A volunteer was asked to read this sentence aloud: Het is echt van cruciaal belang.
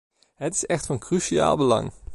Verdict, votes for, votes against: accepted, 2, 0